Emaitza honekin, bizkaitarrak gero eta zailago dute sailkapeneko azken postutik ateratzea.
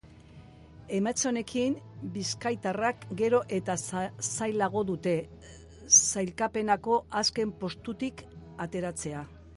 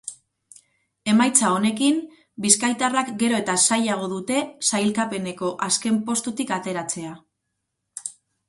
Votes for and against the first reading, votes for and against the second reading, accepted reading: 0, 3, 4, 0, second